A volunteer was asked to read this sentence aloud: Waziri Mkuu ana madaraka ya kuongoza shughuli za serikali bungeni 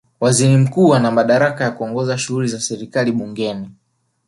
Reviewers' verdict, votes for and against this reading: accepted, 2, 0